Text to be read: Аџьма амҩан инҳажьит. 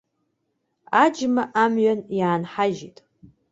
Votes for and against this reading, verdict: 0, 2, rejected